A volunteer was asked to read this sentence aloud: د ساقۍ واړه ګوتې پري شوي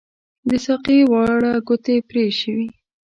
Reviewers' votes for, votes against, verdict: 2, 1, accepted